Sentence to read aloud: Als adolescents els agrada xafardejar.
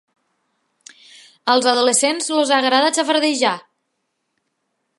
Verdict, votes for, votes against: accepted, 2, 0